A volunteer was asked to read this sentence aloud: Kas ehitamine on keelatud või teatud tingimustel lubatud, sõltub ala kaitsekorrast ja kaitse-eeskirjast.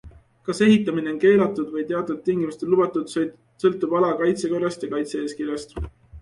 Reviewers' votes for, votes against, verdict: 2, 0, accepted